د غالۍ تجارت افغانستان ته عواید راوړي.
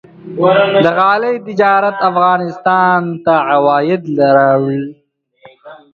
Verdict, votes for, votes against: rejected, 1, 2